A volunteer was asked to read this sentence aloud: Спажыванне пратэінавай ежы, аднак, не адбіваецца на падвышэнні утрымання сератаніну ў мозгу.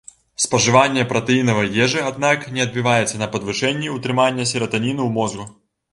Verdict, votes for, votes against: accepted, 2, 0